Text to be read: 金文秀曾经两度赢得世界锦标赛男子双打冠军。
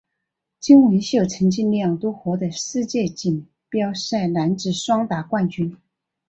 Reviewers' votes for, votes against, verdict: 10, 1, accepted